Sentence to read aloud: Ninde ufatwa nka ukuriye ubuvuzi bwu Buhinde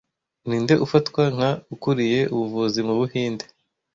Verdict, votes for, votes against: rejected, 1, 2